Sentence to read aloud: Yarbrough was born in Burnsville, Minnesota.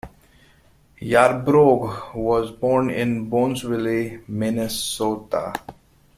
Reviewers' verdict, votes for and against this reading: rejected, 1, 2